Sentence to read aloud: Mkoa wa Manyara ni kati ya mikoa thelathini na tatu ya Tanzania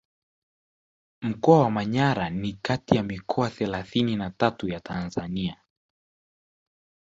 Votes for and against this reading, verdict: 1, 2, rejected